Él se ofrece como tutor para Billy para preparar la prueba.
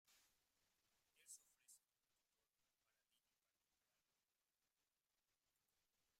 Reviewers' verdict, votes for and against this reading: rejected, 0, 2